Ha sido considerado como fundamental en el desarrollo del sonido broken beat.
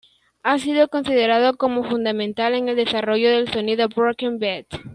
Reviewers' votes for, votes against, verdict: 2, 0, accepted